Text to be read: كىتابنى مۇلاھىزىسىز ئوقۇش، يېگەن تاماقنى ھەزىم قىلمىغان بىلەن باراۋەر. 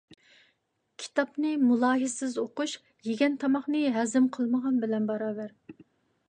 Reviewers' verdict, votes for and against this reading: accepted, 2, 0